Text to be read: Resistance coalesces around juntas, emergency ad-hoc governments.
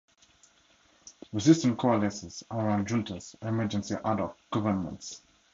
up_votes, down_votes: 0, 2